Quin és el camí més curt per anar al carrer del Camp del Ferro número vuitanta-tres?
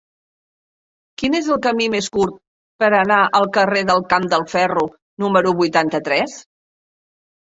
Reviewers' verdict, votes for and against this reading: accepted, 2, 1